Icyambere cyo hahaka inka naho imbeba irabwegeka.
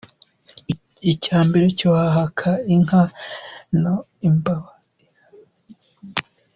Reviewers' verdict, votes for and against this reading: rejected, 1, 2